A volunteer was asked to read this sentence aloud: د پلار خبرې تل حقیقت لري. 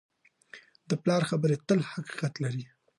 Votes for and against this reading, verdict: 2, 0, accepted